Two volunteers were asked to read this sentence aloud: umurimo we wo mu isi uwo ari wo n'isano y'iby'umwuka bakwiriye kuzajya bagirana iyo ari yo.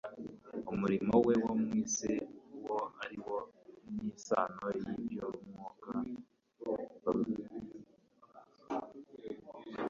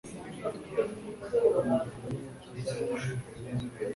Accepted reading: second